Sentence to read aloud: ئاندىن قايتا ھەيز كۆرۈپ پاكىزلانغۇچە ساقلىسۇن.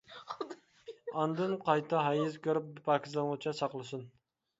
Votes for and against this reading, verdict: 0, 2, rejected